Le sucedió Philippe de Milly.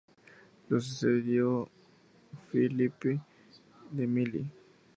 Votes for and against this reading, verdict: 0, 2, rejected